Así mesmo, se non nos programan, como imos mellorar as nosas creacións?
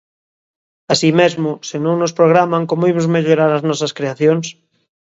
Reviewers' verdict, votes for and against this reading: accepted, 2, 0